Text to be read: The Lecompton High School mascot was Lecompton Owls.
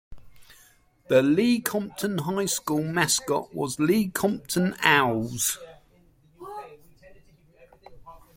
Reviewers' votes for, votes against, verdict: 0, 2, rejected